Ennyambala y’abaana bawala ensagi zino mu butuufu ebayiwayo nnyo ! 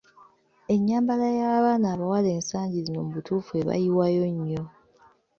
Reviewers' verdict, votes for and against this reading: accepted, 2, 0